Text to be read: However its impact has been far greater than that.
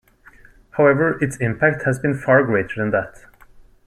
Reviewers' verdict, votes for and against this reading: accepted, 2, 0